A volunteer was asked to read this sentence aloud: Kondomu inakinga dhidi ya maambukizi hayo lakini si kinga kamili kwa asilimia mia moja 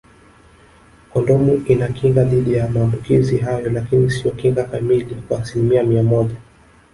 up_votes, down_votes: 2, 1